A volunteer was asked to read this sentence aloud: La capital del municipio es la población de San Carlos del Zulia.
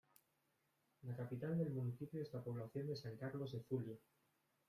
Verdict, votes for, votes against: rejected, 0, 2